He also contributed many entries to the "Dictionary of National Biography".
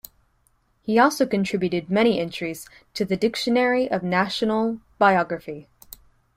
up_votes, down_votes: 2, 0